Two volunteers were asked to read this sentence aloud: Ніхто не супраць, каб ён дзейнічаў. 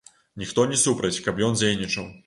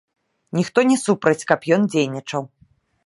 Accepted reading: first